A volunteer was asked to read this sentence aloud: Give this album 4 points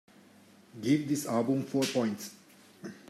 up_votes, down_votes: 0, 2